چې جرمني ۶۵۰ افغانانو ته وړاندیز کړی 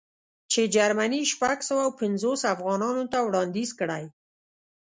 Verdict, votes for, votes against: rejected, 0, 2